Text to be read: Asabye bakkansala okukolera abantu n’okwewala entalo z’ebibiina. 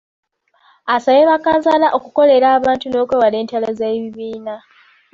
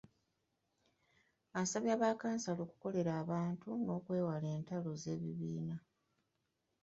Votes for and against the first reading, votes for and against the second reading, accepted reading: 2, 0, 1, 2, first